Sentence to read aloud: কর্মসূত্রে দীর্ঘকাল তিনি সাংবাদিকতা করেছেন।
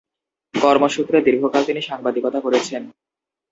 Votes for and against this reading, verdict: 0, 2, rejected